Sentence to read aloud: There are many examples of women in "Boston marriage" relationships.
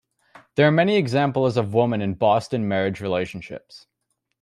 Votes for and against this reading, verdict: 2, 0, accepted